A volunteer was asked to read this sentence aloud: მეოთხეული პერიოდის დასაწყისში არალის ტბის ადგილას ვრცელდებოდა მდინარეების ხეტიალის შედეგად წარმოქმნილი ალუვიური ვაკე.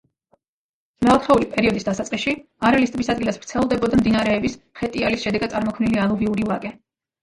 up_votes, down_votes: 1, 2